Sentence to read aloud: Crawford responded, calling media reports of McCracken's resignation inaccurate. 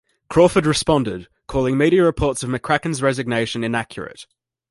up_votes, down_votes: 2, 0